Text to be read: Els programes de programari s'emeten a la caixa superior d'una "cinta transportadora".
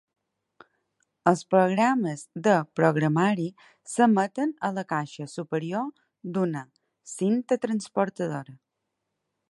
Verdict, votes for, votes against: accepted, 4, 0